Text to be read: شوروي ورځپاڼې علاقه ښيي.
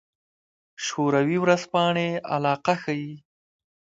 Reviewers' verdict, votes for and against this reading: accepted, 2, 0